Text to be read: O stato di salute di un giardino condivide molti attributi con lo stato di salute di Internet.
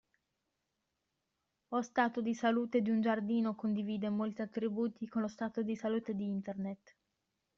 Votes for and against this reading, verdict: 0, 2, rejected